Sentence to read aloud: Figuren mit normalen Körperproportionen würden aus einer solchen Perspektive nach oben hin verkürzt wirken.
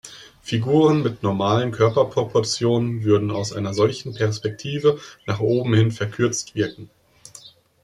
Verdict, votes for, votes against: accepted, 2, 0